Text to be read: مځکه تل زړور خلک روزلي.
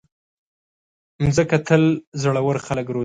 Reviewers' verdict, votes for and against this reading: accepted, 2, 1